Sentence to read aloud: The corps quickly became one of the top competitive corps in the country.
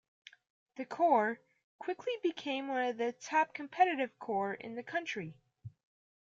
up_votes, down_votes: 1, 2